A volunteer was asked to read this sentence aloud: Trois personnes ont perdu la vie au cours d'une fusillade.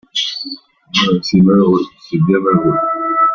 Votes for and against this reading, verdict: 0, 2, rejected